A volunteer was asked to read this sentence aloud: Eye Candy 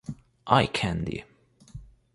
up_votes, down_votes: 1, 2